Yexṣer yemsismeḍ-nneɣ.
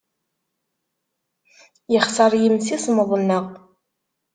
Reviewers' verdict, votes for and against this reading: accepted, 2, 0